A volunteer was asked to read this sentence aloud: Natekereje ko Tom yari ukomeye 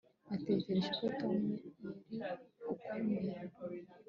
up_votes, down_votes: 2, 1